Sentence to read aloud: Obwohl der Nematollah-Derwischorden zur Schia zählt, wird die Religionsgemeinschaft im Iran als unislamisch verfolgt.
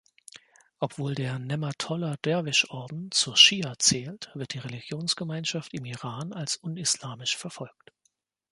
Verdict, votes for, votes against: accepted, 2, 0